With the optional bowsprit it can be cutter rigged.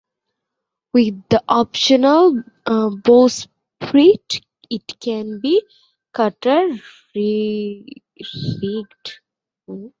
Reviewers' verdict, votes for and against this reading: rejected, 0, 2